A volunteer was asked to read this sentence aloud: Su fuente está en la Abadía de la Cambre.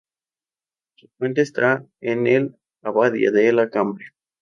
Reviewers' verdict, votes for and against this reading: rejected, 0, 2